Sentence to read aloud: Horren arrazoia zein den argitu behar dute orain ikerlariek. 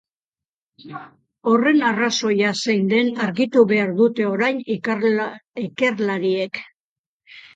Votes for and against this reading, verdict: 0, 2, rejected